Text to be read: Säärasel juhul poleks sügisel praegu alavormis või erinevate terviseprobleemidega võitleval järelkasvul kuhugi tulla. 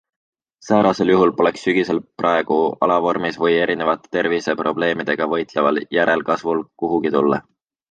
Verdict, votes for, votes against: accepted, 2, 0